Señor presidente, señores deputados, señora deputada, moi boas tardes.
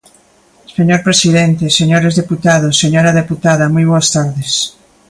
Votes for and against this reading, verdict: 2, 0, accepted